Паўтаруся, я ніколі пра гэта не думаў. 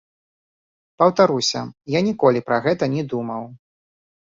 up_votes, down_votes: 0, 2